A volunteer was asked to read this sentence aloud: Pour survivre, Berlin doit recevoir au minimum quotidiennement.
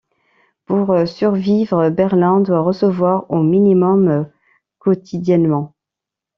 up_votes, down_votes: 2, 0